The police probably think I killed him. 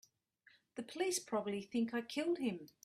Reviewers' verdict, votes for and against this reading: accepted, 2, 0